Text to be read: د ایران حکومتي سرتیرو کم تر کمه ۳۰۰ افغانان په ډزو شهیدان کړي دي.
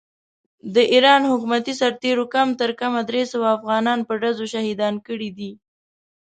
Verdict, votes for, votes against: rejected, 0, 2